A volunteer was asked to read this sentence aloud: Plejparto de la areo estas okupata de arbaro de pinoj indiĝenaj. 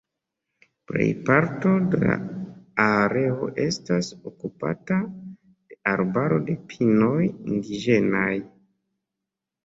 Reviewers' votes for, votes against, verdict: 0, 2, rejected